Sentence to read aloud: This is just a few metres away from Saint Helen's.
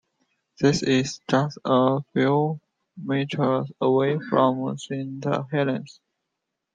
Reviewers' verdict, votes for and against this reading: accepted, 2, 0